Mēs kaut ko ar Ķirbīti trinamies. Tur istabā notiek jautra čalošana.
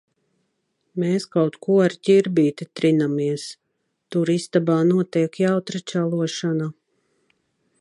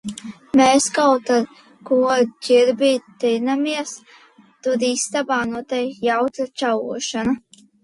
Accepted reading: first